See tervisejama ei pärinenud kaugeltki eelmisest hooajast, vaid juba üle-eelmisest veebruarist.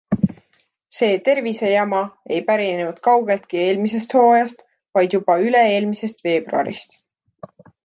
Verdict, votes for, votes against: accepted, 2, 0